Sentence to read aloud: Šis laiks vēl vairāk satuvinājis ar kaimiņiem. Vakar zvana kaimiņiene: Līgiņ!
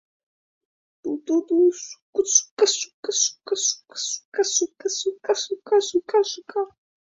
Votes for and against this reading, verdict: 0, 2, rejected